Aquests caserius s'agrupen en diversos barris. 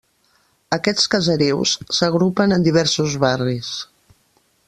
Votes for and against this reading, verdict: 2, 0, accepted